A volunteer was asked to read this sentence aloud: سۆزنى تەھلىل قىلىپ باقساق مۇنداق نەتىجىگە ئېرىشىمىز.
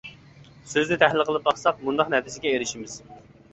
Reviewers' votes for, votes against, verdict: 2, 1, accepted